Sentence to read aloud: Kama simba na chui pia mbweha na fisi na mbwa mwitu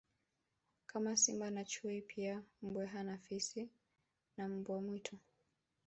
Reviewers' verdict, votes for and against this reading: rejected, 1, 2